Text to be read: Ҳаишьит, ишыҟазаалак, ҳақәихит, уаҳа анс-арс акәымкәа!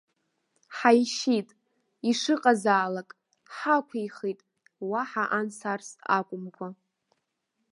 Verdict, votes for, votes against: accepted, 2, 0